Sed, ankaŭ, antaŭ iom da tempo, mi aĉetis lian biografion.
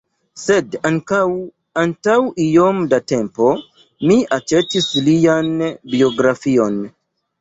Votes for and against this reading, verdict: 2, 1, accepted